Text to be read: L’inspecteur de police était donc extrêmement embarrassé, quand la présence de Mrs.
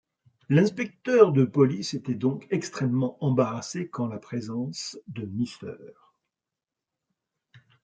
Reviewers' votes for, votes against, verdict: 0, 2, rejected